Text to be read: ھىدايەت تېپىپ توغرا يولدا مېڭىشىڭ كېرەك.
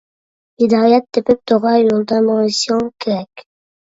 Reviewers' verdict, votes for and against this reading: rejected, 1, 2